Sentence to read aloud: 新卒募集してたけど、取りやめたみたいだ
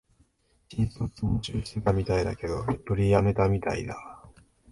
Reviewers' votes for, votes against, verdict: 1, 2, rejected